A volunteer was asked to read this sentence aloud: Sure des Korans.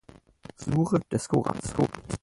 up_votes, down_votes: 0, 4